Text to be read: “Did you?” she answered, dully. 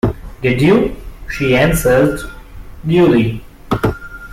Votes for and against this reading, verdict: 2, 1, accepted